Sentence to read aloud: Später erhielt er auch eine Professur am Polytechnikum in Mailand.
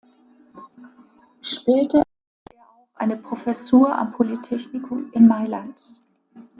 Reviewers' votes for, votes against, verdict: 0, 2, rejected